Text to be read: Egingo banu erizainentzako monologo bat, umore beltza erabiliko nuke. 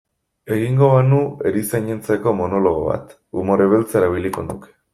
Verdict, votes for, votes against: rejected, 1, 2